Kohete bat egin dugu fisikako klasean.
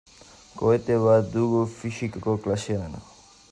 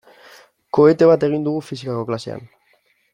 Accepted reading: second